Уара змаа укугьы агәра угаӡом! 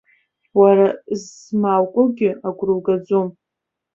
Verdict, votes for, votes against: rejected, 1, 2